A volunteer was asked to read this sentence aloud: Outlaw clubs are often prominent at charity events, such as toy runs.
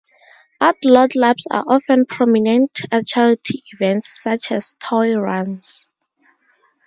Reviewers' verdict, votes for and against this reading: rejected, 2, 2